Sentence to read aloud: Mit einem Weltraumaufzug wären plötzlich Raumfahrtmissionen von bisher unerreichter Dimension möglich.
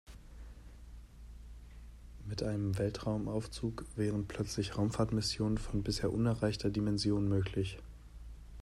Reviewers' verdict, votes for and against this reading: accepted, 2, 0